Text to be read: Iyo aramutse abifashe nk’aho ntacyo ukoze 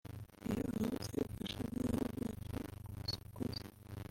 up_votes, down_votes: 1, 2